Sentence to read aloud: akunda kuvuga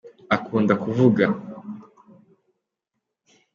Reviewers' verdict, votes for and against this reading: accepted, 2, 0